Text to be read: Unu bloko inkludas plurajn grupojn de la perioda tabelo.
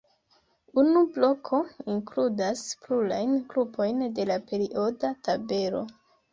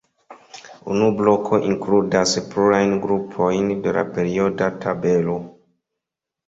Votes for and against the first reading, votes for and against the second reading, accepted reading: 1, 2, 2, 0, second